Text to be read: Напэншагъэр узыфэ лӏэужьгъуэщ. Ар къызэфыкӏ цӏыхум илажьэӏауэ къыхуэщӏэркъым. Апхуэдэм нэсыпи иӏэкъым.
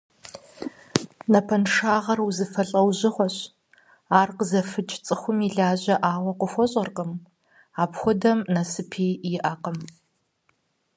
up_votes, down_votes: 4, 0